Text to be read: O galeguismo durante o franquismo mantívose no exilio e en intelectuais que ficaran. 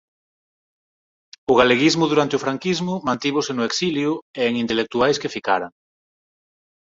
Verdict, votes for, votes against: accepted, 6, 0